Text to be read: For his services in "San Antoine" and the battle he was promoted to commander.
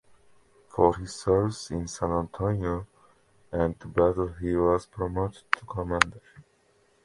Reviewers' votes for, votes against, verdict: 2, 1, accepted